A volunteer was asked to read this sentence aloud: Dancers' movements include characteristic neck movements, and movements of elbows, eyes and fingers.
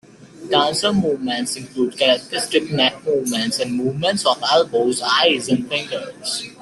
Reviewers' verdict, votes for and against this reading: accepted, 2, 1